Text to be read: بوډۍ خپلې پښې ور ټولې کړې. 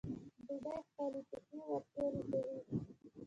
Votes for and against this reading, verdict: 0, 2, rejected